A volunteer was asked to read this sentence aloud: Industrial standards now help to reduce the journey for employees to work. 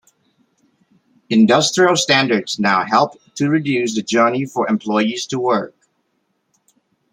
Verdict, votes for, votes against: accepted, 2, 0